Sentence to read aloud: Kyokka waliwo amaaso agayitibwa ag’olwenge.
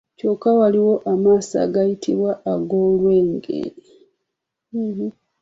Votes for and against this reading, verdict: 2, 0, accepted